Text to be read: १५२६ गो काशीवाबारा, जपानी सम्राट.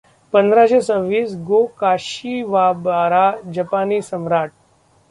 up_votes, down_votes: 0, 2